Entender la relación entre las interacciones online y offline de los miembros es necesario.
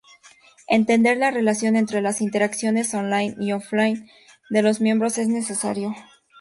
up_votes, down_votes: 0, 4